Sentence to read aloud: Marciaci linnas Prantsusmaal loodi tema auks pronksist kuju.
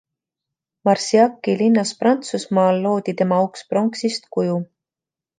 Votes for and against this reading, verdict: 2, 0, accepted